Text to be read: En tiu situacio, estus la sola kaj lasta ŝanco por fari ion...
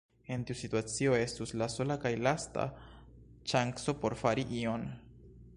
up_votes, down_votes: 1, 2